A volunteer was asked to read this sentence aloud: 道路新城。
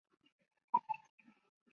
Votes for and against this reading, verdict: 0, 2, rejected